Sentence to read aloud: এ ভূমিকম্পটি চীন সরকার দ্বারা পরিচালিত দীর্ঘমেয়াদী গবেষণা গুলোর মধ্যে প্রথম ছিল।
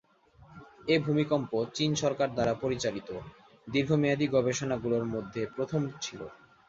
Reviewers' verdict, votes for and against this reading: rejected, 1, 2